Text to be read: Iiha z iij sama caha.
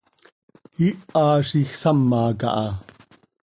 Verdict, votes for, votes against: accepted, 2, 0